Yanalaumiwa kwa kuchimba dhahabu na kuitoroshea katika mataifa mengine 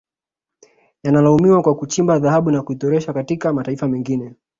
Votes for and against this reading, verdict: 2, 1, accepted